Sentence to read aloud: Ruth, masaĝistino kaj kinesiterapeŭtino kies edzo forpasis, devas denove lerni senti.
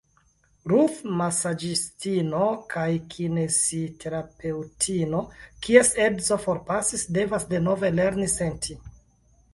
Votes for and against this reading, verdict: 2, 0, accepted